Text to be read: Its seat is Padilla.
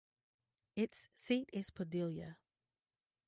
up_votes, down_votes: 2, 0